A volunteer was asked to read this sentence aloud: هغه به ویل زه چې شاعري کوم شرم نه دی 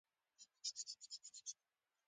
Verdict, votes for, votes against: rejected, 0, 2